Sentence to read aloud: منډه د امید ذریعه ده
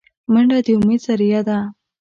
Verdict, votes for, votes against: accepted, 2, 0